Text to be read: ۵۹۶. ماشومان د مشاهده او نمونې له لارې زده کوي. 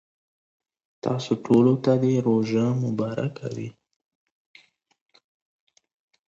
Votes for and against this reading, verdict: 0, 2, rejected